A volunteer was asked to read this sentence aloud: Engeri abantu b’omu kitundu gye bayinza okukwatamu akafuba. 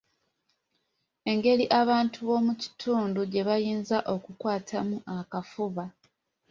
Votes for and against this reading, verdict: 2, 0, accepted